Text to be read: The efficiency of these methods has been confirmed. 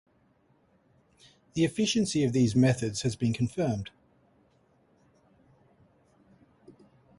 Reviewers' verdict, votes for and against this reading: accepted, 2, 0